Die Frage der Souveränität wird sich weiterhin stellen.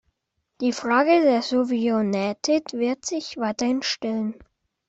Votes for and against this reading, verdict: 0, 2, rejected